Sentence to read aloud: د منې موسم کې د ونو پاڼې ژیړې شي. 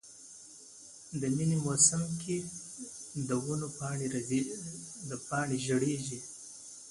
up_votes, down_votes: 0, 2